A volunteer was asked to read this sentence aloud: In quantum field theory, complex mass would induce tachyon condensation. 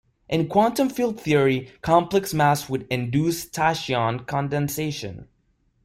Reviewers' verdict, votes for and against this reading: rejected, 0, 2